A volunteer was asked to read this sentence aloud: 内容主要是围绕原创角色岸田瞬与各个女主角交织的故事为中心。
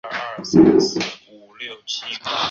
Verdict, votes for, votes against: rejected, 0, 2